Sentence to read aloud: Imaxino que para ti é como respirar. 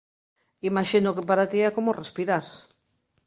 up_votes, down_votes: 2, 0